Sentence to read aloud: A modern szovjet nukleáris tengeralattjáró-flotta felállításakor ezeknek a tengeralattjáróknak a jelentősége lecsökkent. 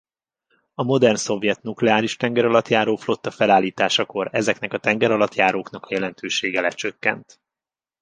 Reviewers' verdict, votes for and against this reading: accepted, 2, 0